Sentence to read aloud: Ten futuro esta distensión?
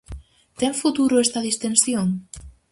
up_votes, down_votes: 4, 0